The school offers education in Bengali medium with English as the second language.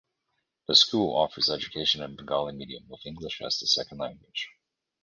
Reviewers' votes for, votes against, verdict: 2, 0, accepted